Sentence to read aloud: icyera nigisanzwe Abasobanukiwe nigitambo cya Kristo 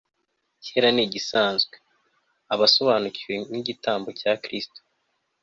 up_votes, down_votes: 2, 0